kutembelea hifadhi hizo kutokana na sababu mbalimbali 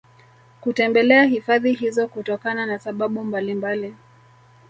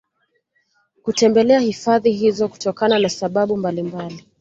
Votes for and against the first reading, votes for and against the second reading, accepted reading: 1, 2, 2, 0, second